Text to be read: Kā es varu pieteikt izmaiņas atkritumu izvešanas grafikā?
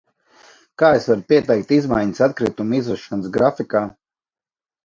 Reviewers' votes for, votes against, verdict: 2, 0, accepted